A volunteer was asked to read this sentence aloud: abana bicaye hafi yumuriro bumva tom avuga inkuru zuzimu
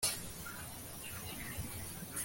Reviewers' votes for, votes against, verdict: 0, 2, rejected